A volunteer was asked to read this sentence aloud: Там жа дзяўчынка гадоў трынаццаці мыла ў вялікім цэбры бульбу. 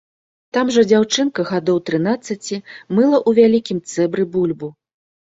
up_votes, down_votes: 1, 2